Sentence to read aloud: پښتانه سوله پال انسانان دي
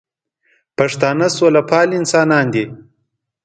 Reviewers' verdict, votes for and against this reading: accepted, 2, 0